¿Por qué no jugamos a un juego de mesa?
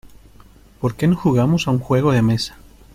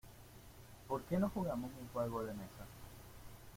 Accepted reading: first